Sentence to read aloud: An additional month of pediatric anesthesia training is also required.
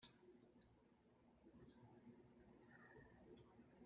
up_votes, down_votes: 0, 2